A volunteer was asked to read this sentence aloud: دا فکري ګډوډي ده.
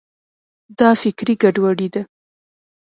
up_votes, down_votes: 2, 0